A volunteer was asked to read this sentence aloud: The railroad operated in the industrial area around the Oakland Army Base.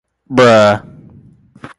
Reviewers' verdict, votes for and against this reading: rejected, 0, 2